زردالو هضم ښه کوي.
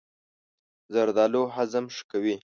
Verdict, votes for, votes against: accepted, 2, 0